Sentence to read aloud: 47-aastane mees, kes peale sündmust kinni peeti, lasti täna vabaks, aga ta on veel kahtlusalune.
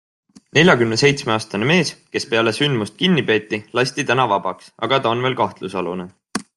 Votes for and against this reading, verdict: 0, 2, rejected